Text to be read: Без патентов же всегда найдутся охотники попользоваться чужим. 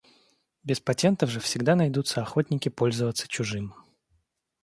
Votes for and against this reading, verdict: 1, 2, rejected